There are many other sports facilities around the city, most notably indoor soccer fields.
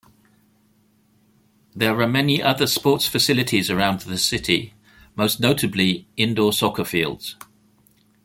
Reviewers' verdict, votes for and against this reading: accepted, 2, 0